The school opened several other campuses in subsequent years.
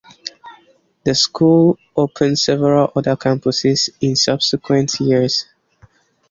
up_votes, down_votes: 2, 0